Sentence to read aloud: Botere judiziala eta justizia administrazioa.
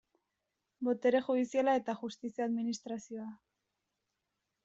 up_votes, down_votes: 2, 0